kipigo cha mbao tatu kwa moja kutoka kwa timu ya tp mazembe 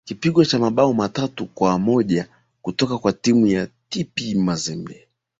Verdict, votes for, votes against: accepted, 2, 0